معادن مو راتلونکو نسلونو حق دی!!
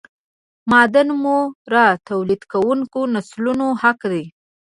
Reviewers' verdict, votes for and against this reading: rejected, 1, 2